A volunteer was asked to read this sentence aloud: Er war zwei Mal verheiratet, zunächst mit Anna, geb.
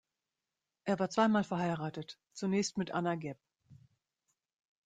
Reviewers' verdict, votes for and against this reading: rejected, 0, 2